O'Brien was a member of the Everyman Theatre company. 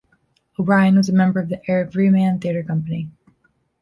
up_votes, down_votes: 2, 1